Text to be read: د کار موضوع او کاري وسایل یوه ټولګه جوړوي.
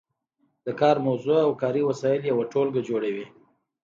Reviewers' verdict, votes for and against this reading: accepted, 2, 0